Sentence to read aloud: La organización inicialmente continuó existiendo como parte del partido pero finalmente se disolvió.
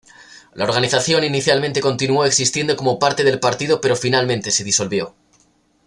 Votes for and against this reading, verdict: 2, 0, accepted